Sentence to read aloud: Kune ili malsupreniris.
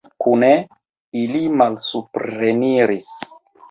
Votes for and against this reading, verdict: 1, 2, rejected